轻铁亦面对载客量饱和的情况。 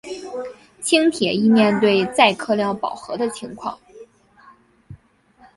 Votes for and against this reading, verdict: 3, 1, accepted